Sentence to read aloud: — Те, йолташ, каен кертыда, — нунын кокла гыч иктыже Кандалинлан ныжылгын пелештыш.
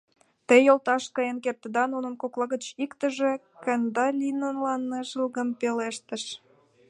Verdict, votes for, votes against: rejected, 1, 2